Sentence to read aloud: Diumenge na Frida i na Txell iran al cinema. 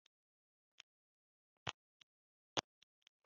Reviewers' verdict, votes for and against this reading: rejected, 0, 2